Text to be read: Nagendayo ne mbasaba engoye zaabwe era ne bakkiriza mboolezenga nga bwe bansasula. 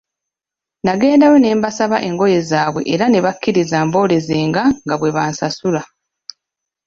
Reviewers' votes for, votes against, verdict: 2, 0, accepted